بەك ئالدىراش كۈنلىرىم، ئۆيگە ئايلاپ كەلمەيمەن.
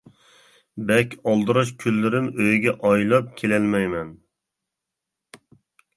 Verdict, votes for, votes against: rejected, 0, 2